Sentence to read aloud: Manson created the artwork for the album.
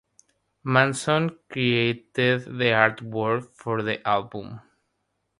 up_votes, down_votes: 3, 0